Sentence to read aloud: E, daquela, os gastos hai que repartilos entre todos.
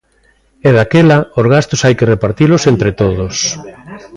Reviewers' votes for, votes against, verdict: 1, 2, rejected